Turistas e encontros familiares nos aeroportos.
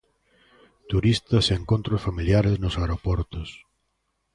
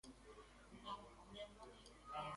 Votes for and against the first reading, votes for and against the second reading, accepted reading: 2, 0, 0, 2, first